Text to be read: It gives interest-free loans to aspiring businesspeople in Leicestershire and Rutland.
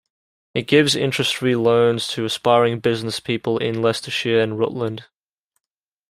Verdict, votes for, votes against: accepted, 2, 0